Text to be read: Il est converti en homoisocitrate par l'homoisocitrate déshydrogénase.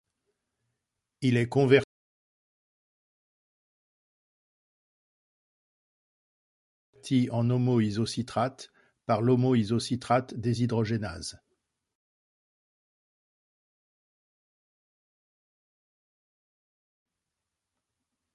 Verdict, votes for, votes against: rejected, 0, 2